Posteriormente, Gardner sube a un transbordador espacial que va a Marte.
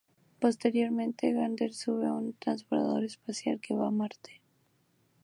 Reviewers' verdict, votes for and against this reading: accepted, 2, 0